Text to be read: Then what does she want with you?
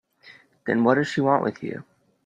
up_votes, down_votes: 3, 0